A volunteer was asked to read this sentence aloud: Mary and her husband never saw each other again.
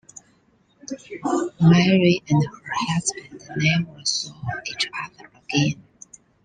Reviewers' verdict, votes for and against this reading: rejected, 0, 2